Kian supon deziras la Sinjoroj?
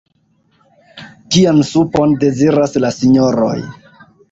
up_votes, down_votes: 0, 2